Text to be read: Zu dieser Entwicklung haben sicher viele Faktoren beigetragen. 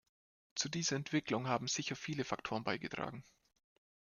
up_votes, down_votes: 2, 0